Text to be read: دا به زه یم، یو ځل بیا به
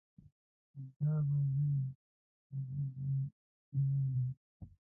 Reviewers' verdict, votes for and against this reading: rejected, 0, 2